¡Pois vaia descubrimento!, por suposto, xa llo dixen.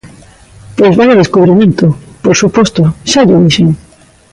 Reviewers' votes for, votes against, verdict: 2, 0, accepted